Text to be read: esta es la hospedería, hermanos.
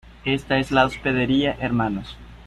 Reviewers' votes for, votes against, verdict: 2, 0, accepted